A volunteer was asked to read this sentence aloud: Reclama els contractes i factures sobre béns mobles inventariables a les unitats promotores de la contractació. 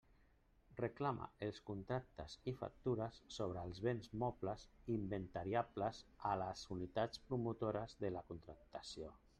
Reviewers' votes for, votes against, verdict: 1, 2, rejected